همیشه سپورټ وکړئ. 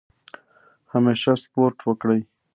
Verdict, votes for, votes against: accepted, 2, 0